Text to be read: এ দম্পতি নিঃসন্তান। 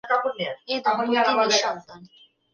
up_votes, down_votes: 2, 1